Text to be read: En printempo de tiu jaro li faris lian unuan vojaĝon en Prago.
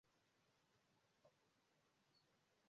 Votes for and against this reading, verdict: 0, 2, rejected